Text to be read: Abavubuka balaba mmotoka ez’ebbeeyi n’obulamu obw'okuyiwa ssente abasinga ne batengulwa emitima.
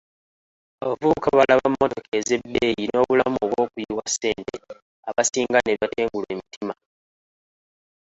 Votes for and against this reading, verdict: 1, 2, rejected